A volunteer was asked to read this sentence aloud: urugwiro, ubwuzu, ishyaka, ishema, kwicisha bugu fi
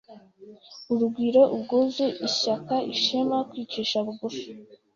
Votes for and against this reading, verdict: 0, 2, rejected